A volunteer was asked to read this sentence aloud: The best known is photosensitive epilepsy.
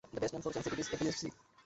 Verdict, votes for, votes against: rejected, 0, 2